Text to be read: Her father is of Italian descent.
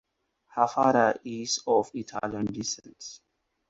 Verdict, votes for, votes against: accepted, 4, 0